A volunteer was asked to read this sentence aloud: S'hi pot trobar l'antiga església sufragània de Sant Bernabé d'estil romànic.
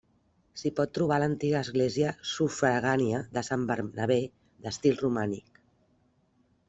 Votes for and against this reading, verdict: 3, 0, accepted